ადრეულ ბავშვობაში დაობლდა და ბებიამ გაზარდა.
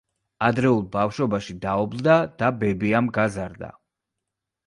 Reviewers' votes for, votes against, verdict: 2, 0, accepted